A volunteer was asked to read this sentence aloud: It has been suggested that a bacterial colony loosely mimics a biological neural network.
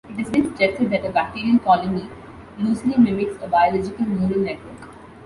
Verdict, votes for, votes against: rejected, 0, 2